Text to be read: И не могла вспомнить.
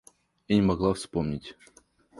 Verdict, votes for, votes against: rejected, 0, 2